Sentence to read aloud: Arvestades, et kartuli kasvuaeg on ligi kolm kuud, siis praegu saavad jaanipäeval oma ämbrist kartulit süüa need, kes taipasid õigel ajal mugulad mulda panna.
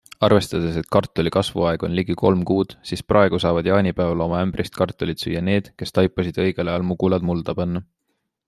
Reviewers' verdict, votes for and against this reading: accepted, 2, 0